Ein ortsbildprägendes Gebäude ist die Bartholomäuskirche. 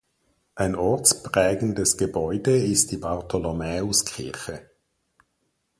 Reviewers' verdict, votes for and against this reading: rejected, 2, 4